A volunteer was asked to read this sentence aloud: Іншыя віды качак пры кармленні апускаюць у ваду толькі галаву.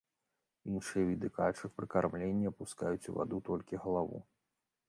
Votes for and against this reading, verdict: 3, 0, accepted